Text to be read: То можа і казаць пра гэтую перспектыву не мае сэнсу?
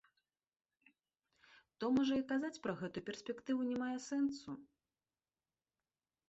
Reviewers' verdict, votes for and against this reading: accepted, 2, 0